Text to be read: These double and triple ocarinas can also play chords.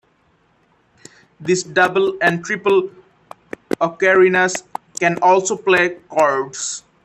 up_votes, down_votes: 0, 2